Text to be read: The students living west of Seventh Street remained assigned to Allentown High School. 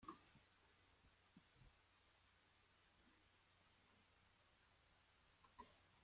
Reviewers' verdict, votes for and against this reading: rejected, 0, 2